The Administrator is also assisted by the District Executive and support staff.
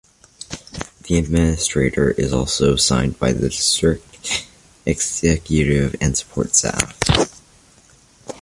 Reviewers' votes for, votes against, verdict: 1, 2, rejected